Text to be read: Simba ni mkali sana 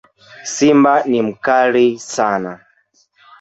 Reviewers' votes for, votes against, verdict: 2, 0, accepted